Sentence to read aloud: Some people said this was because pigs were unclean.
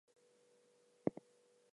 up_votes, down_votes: 2, 0